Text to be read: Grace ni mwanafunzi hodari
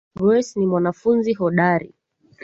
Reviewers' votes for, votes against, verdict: 2, 0, accepted